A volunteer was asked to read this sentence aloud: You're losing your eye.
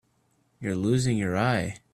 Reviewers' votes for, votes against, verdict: 2, 0, accepted